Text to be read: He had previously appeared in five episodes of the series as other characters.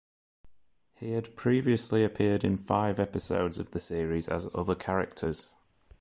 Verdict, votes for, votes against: accepted, 2, 0